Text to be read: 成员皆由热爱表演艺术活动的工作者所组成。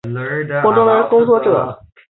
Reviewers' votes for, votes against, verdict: 0, 3, rejected